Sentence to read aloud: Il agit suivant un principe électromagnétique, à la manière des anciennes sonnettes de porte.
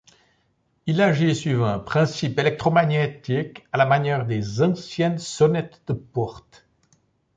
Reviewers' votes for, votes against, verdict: 1, 2, rejected